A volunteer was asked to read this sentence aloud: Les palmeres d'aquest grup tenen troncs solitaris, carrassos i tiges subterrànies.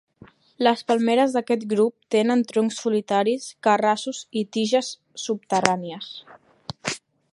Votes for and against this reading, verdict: 3, 0, accepted